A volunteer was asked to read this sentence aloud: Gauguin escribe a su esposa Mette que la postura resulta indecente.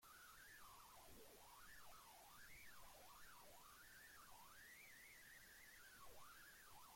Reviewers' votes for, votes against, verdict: 0, 2, rejected